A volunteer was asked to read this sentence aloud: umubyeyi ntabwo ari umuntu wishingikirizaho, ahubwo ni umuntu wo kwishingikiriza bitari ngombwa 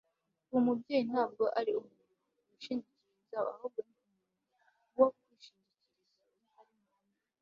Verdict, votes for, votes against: rejected, 1, 2